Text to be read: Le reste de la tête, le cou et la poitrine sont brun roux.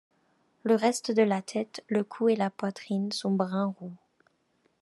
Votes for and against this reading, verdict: 3, 0, accepted